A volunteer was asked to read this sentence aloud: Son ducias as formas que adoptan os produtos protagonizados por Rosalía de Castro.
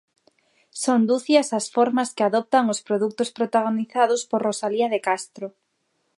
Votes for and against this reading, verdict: 6, 0, accepted